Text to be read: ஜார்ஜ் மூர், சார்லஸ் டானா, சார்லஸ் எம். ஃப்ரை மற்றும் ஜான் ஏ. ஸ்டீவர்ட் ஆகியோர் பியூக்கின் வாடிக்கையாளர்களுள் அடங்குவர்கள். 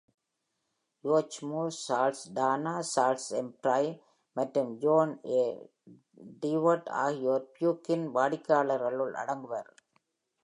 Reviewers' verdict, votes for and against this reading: rejected, 1, 2